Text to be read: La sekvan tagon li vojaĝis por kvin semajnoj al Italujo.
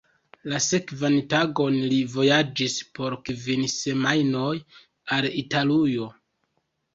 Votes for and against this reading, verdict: 2, 1, accepted